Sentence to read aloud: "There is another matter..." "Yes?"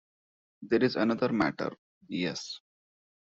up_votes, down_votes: 2, 1